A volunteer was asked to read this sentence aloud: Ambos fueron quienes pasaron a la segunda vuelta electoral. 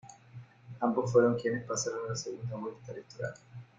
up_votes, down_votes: 2, 1